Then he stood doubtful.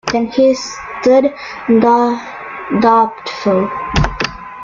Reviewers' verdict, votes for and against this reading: rejected, 0, 2